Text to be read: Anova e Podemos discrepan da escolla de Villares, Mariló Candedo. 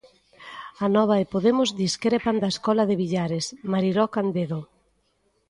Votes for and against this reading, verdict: 0, 2, rejected